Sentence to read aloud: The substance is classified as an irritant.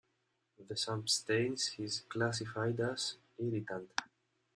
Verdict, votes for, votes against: rejected, 0, 2